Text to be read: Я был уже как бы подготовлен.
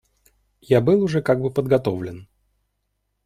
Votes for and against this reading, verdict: 2, 0, accepted